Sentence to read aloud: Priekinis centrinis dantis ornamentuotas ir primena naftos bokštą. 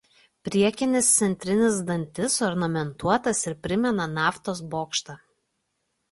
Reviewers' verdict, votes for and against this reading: accepted, 2, 0